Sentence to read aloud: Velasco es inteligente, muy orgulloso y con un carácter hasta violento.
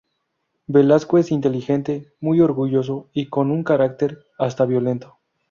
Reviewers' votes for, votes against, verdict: 2, 0, accepted